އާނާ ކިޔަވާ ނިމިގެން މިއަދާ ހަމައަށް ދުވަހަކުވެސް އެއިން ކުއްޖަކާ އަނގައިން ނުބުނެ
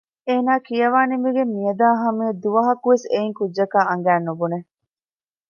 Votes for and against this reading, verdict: 1, 2, rejected